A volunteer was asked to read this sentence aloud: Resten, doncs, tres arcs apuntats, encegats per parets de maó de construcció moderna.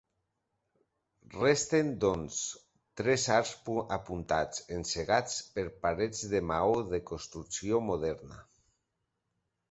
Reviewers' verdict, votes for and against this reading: accepted, 2, 0